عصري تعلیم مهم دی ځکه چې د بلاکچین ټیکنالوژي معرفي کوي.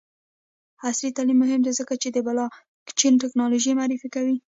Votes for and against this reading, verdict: 1, 2, rejected